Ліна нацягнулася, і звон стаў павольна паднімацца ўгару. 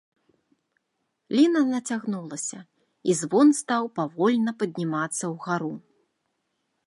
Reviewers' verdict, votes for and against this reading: accepted, 2, 0